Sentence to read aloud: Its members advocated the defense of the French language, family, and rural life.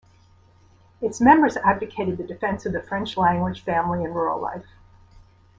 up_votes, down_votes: 2, 0